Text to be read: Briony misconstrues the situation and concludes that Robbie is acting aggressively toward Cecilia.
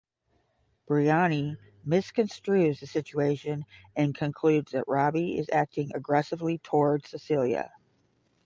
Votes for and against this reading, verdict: 5, 5, rejected